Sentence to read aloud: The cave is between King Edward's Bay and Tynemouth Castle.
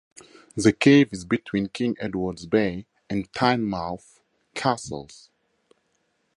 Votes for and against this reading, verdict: 0, 2, rejected